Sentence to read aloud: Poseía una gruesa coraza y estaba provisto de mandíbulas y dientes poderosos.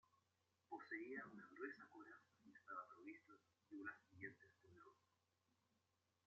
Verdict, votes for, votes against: rejected, 0, 2